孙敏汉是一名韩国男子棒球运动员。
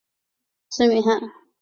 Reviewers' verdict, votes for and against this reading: rejected, 0, 2